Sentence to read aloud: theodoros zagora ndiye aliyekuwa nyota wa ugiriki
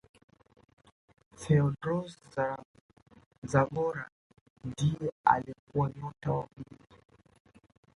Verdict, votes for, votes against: rejected, 0, 2